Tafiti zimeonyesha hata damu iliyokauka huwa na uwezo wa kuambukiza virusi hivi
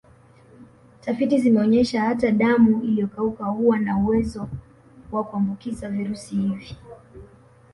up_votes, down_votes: 0, 2